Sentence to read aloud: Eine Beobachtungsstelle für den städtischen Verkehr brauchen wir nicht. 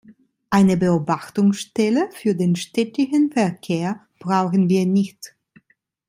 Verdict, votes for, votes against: rejected, 0, 2